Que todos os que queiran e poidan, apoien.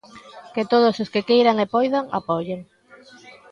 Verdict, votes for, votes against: accepted, 3, 0